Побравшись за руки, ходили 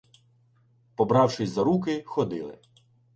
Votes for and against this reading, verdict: 2, 0, accepted